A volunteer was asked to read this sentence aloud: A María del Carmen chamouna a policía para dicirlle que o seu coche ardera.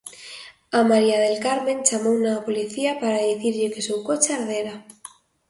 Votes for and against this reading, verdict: 2, 0, accepted